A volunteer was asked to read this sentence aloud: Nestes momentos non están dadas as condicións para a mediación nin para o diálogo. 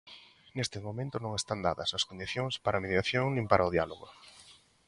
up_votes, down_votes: 2, 1